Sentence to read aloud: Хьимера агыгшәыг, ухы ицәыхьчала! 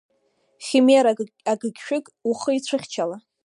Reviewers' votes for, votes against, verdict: 0, 2, rejected